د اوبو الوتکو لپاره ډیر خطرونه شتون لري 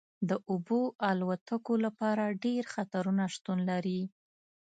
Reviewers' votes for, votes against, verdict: 2, 0, accepted